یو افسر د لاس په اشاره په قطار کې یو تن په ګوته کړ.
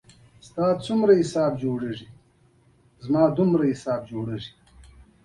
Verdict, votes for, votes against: rejected, 1, 2